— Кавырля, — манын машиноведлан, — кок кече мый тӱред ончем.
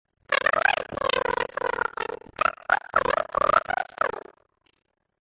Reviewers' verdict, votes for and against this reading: rejected, 0, 2